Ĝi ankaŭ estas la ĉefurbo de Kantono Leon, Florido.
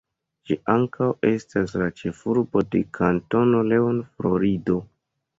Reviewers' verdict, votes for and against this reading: accepted, 2, 0